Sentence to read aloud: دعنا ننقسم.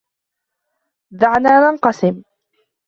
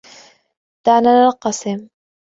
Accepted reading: first